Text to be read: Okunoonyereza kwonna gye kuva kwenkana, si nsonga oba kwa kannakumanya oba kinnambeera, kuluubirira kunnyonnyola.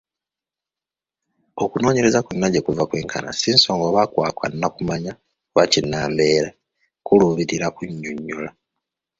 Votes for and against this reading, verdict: 0, 2, rejected